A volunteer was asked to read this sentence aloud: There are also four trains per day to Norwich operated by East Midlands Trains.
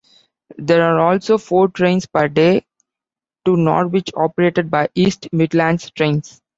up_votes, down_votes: 1, 2